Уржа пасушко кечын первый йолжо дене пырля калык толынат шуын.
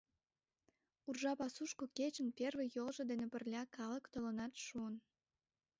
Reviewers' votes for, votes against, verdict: 2, 0, accepted